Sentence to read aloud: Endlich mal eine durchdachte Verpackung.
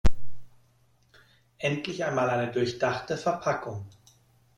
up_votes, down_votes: 0, 2